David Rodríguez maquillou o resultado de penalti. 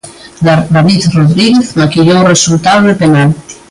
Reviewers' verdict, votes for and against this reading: rejected, 0, 2